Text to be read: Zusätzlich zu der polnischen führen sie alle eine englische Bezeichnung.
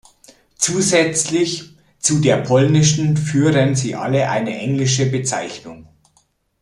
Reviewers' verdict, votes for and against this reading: accepted, 2, 0